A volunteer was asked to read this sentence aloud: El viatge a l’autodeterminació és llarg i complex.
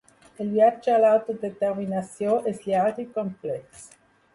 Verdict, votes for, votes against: rejected, 0, 2